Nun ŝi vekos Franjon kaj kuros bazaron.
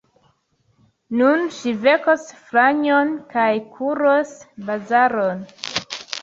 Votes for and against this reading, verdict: 2, 0, accepted